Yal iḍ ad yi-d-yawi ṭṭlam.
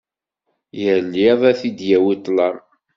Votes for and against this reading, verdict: 1, 2, rejected